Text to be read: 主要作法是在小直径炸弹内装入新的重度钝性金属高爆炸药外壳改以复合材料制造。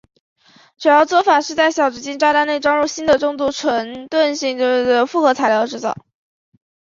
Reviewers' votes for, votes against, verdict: 1, 2, rejected